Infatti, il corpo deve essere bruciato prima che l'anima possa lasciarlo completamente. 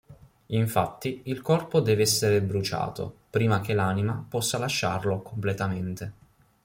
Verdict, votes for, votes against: accepted, 2, 0